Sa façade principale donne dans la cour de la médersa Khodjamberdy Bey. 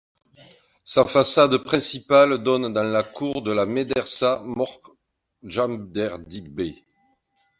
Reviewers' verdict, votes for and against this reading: rejected, 1, 2